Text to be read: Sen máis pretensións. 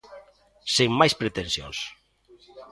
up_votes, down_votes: 1, 2